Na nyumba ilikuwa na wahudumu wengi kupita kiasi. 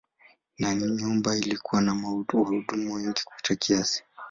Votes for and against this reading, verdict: 0, 2, rejected